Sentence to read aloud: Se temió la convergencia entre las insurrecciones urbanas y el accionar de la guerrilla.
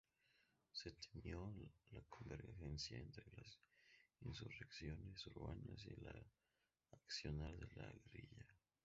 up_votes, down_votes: 0, 4